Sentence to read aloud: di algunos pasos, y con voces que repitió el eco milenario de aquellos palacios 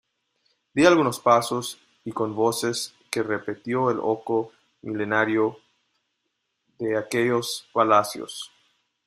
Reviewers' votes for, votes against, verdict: 0, 2, rejected